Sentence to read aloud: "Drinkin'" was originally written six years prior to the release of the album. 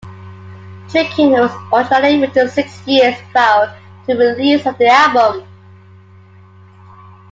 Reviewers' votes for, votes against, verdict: 0, 2, rejected